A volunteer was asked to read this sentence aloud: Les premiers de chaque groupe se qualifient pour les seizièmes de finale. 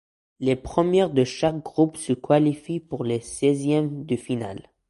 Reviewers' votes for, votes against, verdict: 2, 1, accepted